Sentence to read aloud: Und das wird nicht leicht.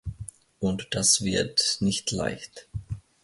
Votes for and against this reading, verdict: 2, 0, accepted